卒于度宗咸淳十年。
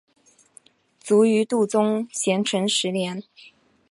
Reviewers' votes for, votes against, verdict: 2, 0, accepted